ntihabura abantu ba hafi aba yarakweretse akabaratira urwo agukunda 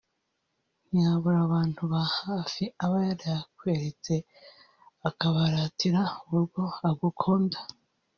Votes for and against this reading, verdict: 1, 2, rejected